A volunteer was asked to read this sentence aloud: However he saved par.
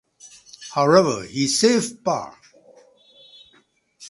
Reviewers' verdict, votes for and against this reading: accepted, 2, 0